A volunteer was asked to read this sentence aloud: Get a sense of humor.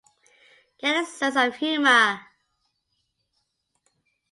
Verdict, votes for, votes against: accepted, 2, 1